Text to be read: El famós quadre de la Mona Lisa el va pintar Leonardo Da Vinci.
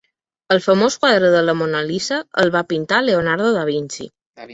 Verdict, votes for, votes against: rejected, 0, 2